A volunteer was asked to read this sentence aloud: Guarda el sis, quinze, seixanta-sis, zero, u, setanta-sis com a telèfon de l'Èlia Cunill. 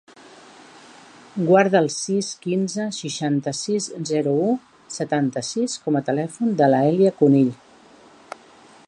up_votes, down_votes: 1, 2